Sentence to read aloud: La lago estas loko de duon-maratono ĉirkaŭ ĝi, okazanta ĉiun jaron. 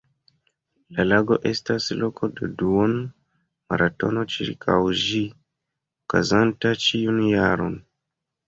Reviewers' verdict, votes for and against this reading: accepted, 2, 0